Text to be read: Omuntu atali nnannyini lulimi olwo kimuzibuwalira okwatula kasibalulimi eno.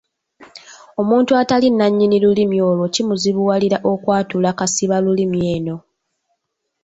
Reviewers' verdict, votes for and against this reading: accepted, 2, 1